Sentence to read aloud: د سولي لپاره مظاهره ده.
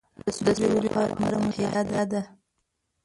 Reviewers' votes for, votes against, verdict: 0, 2, rejected